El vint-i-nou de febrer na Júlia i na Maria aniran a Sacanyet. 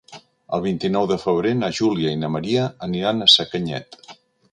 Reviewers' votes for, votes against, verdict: 2, 0, accepted